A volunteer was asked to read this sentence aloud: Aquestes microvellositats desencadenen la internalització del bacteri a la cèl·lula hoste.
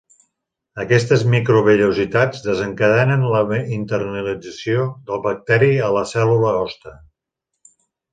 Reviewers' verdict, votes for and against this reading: rejected, 1, 2